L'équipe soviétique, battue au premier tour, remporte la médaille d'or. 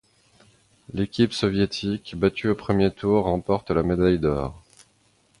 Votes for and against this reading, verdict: 2, 0, accepted